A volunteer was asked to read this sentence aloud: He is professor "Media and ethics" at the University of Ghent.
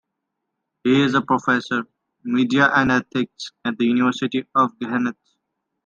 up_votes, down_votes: 1, 2